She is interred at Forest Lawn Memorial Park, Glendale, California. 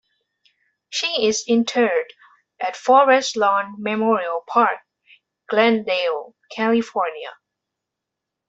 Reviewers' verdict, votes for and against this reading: accepted, 2, 0